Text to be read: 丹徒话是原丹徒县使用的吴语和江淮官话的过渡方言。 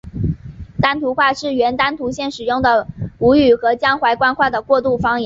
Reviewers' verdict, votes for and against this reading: accepted, 8, 1